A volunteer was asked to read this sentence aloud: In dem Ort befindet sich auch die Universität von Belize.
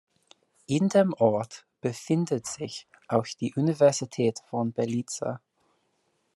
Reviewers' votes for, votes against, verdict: 1, 2, rejected